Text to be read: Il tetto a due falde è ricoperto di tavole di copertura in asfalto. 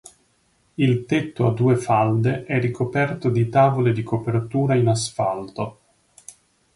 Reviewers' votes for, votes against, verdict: 3, 0, accepted